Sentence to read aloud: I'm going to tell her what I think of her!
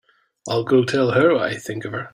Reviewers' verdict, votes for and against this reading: rejected, 0, 2